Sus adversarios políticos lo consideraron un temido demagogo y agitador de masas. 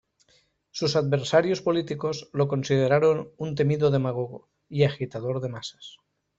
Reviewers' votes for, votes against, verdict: 2, 0, accepted